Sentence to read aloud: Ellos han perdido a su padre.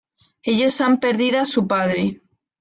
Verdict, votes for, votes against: accepted, 2, 0